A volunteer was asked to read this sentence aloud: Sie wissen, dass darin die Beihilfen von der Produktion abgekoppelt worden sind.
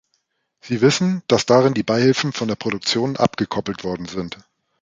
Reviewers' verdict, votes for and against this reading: accepted, 2, 0